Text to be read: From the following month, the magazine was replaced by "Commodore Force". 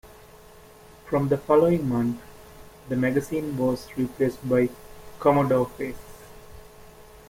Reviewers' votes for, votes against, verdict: 0, 3, rejected